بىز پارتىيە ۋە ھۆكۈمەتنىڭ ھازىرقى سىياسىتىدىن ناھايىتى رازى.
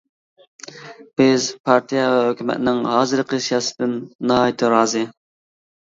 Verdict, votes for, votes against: accepted, 2, 1